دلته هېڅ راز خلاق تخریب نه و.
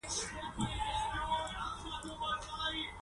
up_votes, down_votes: 1, 2